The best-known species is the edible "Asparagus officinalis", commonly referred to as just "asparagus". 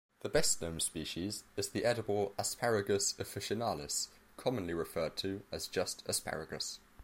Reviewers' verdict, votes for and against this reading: accepted, 2, 0